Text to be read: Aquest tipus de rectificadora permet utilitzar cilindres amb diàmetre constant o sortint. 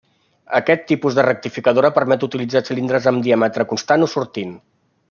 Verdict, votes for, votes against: accepted, 3, 0